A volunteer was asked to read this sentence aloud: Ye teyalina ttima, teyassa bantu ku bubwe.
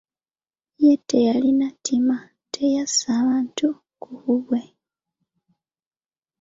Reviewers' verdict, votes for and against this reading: accepted, 2, 0